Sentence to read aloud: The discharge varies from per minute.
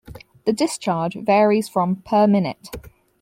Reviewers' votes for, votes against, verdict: 2, 4, rejected